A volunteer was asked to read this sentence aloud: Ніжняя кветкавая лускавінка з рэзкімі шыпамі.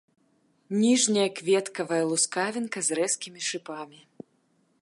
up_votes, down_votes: 1, 2